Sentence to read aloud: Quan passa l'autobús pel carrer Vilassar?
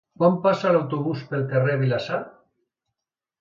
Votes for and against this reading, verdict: 2, 0, accepted